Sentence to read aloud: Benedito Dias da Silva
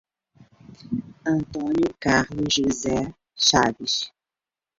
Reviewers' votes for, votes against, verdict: 0, 2, rejected